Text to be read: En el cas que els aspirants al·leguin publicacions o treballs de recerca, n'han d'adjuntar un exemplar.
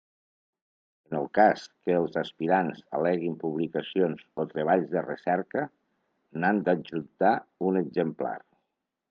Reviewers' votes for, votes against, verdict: 2, 0, accepted